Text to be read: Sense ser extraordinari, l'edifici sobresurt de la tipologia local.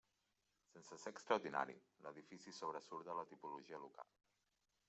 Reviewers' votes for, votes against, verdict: 0, 2, rejected